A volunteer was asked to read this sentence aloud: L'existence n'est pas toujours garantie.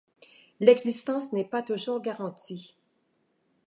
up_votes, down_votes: 2, 0